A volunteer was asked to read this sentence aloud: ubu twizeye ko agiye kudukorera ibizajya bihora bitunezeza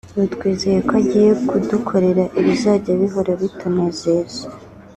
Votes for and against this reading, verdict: 2, 1, accepted